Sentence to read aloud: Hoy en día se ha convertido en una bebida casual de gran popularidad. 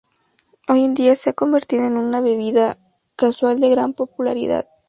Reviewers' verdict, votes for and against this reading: accepted, 2, 0